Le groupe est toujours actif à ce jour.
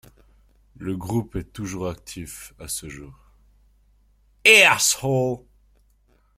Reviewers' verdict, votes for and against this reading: rejected, 0, 2